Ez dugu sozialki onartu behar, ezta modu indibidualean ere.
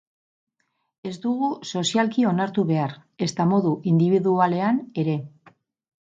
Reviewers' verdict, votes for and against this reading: accepted, 4, 2